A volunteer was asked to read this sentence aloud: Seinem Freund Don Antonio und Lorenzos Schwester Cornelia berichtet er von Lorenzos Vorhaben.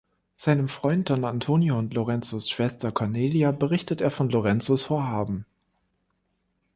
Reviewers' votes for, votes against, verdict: 2, 0, accepted